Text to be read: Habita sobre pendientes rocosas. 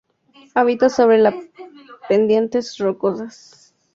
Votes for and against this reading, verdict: 0, 2, rejected